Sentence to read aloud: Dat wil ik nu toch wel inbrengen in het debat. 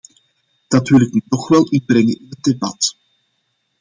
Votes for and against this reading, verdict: 0, 2, rejected